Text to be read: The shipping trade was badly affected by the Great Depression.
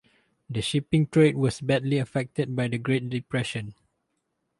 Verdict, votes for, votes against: accepted, 4, 0